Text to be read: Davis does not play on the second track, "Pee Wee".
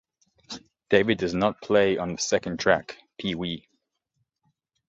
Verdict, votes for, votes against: rejected, 1, 2